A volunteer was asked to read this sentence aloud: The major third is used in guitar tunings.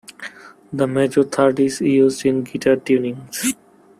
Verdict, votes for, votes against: accepted, 2, 1